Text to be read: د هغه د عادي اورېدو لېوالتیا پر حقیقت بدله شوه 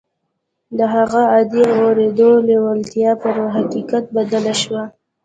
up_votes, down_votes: 0, 2